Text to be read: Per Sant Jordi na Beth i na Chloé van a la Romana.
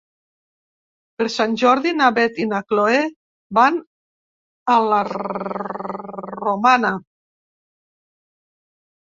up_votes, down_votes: 0, 2